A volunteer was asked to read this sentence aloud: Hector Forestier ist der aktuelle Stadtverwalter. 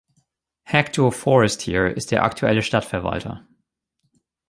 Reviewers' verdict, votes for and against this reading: accepted, 2, 0